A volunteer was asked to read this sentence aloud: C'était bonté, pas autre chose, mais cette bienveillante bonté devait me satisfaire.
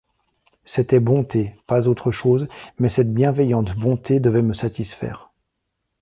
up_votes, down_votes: 2, 0